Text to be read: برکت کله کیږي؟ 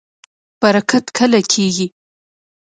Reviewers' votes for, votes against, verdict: 1, 2, rejected